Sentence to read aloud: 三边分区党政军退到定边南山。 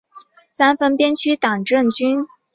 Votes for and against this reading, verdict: 1, 2, rejected